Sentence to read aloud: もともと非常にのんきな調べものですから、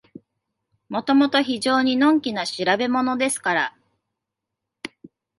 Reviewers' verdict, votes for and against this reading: accepted, 2, 0